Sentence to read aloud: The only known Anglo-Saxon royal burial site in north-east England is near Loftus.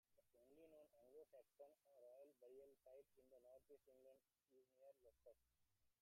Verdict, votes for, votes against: rejected, 0, 2